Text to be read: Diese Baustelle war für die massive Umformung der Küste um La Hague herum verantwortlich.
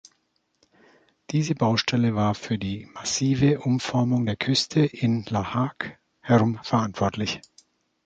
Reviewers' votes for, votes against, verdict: 1, 2, rejected